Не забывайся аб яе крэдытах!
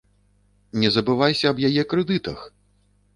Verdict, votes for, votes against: accepted, 2, 0